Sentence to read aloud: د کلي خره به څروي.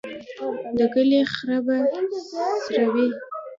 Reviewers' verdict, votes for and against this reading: rejected, 1, 2